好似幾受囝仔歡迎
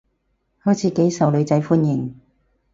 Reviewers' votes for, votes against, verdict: 0, 4, rejected